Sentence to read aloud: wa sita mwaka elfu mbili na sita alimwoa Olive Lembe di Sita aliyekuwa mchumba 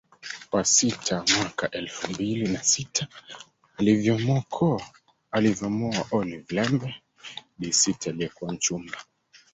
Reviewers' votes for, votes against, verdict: 0, 2, rejected